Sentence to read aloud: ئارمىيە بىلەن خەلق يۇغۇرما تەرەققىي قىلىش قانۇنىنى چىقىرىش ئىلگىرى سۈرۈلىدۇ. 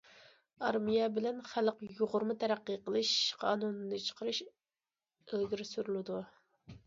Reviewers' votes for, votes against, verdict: 2, 0, accepted